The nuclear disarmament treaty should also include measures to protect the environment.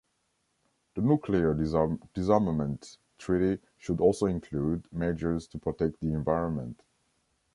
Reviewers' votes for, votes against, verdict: 0, 2, rejected